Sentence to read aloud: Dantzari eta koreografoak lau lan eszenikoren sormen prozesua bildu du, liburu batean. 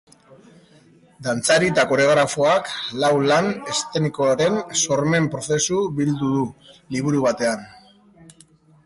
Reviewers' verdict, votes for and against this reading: rejected, 0, 2